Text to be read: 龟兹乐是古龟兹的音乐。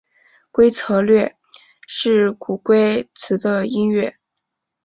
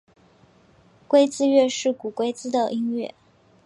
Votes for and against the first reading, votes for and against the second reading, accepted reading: 2, 3, 2, 1, second